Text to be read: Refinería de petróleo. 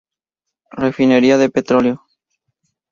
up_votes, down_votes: 2, 0